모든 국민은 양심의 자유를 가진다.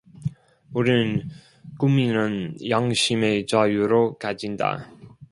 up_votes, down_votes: 0, 2